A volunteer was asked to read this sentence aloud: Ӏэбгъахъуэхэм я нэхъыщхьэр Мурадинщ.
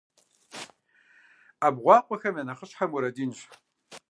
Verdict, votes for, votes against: rejected, 1, 2